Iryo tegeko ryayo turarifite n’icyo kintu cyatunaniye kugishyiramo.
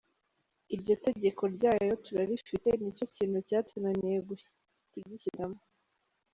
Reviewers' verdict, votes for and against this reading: rejected, 1, 2